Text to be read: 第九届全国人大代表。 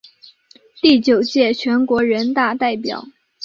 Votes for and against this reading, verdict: 3, 0, accepted